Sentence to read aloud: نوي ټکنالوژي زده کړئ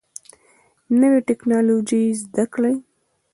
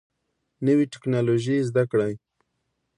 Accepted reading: second